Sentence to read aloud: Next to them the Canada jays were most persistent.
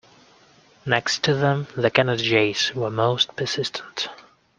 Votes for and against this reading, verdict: 2, 0, accepted